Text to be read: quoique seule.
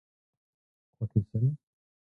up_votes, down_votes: 1, 2